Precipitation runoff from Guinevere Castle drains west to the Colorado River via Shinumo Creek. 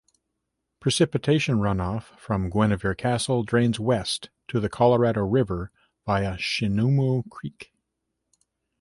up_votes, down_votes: 2, 1